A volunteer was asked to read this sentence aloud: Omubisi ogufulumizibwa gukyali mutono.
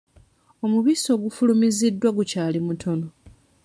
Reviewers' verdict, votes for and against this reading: rejected, 1, 2